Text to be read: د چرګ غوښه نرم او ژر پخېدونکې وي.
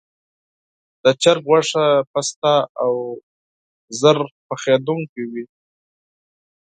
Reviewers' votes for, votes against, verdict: 0, 4, rejected